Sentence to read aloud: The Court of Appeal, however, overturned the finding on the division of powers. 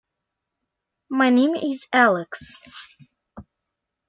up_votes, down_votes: 0, 2